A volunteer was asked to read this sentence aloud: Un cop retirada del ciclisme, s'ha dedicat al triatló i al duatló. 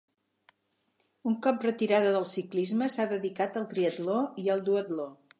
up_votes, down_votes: 4, 0